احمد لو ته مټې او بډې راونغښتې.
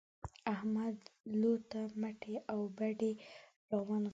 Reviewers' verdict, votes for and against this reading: rejected, 1, 2